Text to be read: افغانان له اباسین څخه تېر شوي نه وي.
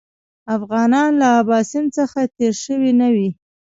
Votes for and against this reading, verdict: 2, 1, accepted